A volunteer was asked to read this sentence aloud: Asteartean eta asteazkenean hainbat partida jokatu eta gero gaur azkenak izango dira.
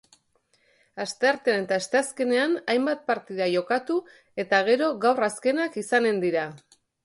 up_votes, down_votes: 0, 2